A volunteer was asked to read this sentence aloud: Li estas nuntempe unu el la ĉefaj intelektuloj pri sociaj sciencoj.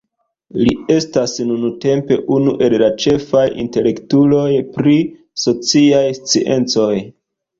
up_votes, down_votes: 3, 0